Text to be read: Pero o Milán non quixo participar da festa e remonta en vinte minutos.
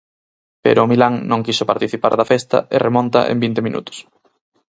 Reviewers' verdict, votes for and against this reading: accepted, 4, 0